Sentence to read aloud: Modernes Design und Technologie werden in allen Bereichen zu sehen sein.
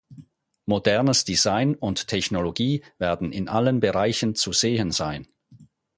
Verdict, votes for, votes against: accepted, 4, 0